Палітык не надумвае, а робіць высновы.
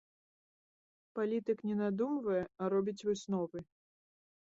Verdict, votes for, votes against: accepted, 2, 0